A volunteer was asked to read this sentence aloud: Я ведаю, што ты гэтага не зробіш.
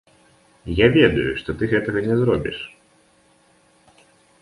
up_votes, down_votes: 0, 2